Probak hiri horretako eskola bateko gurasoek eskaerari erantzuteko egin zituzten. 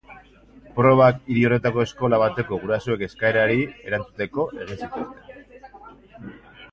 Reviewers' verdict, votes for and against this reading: rejected, 0, 2